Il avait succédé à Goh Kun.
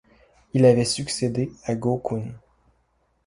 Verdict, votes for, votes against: accepted, 2, 0